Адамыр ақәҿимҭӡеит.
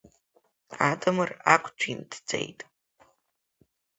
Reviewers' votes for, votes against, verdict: 0, 2, rejected